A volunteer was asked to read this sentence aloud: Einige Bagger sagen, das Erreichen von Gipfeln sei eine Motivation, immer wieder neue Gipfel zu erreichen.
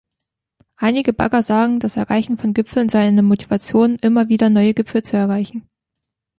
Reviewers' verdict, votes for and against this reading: rejected, 0, 2